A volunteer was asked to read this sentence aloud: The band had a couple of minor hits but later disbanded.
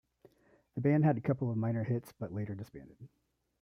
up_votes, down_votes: 0, 2